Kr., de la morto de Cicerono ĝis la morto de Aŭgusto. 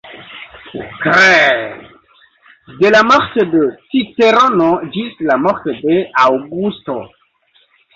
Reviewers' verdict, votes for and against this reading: rejected, 1, 2